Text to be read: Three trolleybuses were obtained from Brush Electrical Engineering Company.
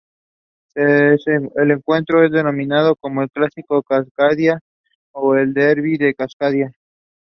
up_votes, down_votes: 0, 2